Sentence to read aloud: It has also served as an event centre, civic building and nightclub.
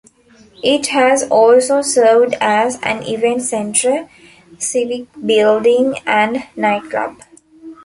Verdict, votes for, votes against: rejected, 1, 2